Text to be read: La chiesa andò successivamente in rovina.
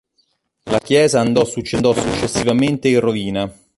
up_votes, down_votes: 0, 2